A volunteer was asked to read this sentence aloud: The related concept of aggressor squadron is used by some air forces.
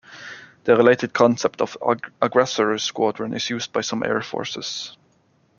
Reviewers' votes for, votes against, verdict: 1, 2, rejected